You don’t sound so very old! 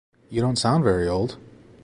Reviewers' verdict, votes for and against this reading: rejected, 1, 3